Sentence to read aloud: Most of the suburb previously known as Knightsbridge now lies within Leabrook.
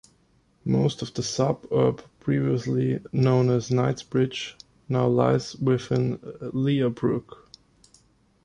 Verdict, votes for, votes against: rejected, 1, 2